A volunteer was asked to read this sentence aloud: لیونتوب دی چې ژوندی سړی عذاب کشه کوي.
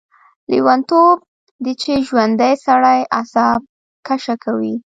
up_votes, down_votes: 1, 2